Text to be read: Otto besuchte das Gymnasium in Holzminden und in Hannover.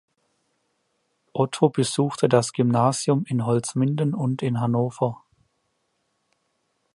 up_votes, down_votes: 2, 0